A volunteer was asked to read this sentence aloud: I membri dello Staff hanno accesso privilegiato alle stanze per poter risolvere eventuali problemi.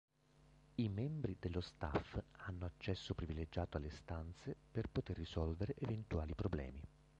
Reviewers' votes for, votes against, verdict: 2, 1, accepted